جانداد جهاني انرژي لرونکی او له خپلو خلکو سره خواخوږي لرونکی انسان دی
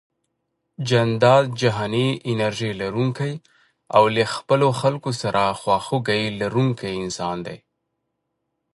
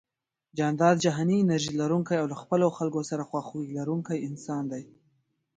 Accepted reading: second